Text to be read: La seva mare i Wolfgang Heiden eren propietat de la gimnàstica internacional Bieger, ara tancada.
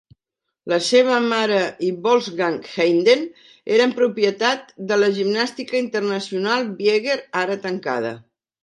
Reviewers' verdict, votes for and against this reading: accepted, 2, 0